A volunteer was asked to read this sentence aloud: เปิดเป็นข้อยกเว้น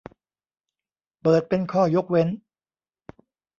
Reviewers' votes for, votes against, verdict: 1, 2, rejected